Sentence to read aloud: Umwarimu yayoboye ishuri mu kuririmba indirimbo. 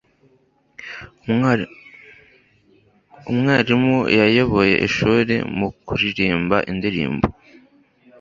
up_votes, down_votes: 1, 2